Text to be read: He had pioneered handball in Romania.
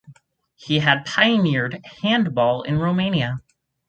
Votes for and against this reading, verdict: 4, 0, accepted